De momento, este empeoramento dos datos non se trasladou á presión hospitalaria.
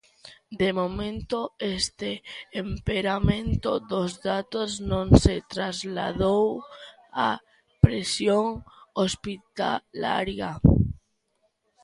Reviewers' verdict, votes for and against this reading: rejected, 0, 2